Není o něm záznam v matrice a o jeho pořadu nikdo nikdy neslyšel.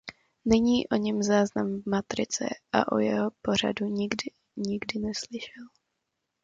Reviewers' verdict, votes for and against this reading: rejected, 1, 2